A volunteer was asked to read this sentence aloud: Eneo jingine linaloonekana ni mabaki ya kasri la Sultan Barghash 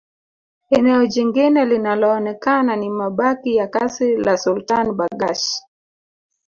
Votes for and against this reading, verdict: 2, 0, accepted